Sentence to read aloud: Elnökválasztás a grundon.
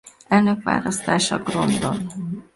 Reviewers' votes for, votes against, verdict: 0, 2, rejected